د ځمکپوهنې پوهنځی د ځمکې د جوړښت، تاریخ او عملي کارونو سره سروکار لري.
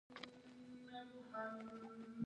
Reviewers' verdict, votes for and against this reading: rejected, 1, 2